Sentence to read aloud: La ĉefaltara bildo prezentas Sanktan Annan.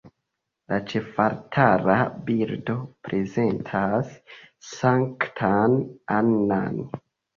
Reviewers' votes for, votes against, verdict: 2, 0, accepted